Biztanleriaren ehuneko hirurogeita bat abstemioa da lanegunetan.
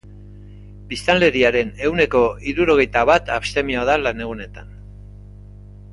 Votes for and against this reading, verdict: 2, 0, accepted